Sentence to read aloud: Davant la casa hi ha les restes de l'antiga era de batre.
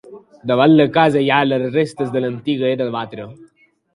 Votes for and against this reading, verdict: 2, 0, accepted